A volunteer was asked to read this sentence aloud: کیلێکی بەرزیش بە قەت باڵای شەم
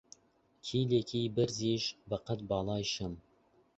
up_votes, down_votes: 10, 0